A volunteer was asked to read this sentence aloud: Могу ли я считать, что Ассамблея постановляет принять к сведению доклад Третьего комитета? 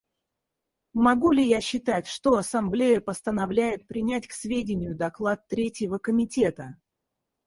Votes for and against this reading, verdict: 2, 2, rejected